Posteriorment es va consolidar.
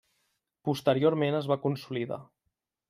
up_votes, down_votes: 5, 0